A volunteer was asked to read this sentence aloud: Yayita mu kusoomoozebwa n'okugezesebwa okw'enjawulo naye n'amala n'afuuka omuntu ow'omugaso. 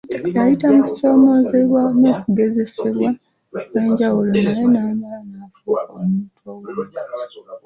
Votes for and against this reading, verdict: 2, 0, accepted